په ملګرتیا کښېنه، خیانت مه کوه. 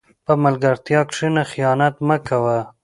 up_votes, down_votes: 2, 0